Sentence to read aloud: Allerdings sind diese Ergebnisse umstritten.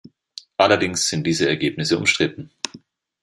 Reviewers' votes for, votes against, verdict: 2, 0, accepted